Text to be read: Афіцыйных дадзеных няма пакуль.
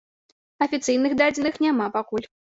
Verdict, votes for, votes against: accepted, 2, 0